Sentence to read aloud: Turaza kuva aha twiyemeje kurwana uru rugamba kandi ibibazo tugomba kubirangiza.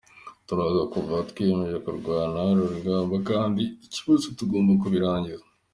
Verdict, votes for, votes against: accepted, 2, 0